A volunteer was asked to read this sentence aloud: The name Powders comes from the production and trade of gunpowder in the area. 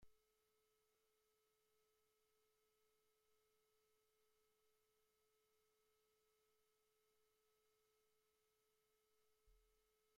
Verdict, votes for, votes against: rejected, 0, 2